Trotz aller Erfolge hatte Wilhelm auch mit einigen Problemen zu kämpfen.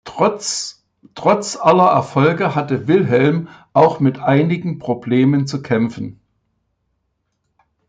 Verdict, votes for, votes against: rejected, 1, 2